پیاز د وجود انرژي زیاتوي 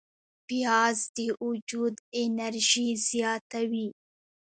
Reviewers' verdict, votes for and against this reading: rejected, 1, 2